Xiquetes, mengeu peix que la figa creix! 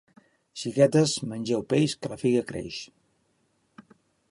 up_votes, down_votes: 2, 0